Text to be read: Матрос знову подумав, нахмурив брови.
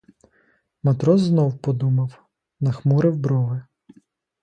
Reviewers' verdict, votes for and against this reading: rejected, 0, 2